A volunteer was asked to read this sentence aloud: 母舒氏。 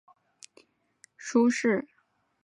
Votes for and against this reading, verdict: 0, 3, rejected